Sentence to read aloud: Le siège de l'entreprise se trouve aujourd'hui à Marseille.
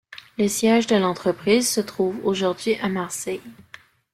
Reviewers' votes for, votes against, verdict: 2, 0, accepted